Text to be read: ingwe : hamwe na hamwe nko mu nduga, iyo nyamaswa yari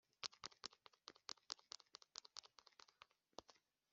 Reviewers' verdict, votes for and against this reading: rejected, 0, 2